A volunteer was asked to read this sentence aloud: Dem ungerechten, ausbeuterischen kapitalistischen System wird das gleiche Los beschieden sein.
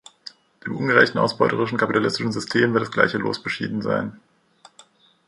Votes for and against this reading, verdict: 0, 2, rejected